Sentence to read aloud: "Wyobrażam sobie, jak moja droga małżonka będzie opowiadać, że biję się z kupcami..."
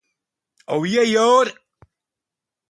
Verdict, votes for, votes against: rejected, 0, 2